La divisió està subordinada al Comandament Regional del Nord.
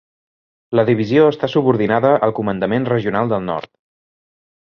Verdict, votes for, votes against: accepted, 5, 0